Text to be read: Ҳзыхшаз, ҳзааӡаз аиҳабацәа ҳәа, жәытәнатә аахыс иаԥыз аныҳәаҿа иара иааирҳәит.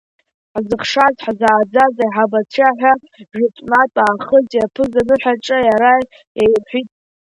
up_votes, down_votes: 2, 1